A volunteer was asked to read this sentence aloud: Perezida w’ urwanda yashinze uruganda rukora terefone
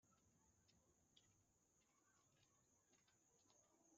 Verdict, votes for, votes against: rejected, 0, 2